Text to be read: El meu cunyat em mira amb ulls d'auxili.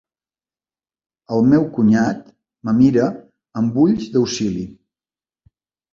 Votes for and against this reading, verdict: 0, 2, rejected